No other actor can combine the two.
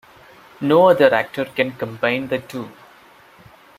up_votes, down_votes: 2, 0